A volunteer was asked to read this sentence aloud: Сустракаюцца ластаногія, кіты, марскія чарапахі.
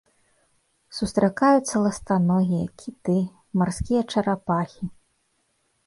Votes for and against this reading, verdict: 2, 0, accepted